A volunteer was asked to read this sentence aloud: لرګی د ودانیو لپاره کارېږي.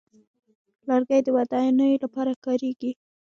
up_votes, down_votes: 2, 1